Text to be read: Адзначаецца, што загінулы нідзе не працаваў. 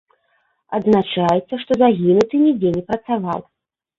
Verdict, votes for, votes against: rejected, 0, 2